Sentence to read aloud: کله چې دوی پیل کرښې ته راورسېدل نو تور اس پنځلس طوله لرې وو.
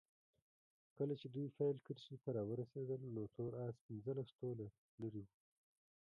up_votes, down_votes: 1, 2